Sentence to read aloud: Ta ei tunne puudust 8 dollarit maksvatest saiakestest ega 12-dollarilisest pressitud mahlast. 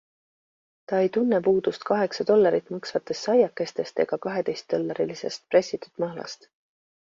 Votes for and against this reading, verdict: 0, 2, rejected